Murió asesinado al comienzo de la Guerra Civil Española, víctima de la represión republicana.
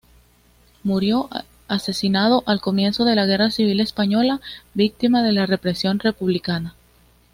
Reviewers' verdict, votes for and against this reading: accepted, 2, 0